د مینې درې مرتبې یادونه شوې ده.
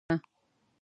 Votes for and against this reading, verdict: 0, 2, rejected